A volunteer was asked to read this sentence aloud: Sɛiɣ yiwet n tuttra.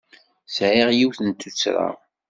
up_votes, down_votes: 2, 0